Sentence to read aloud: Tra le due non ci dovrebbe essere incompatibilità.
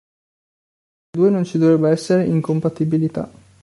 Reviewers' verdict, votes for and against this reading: rejected, 0, 2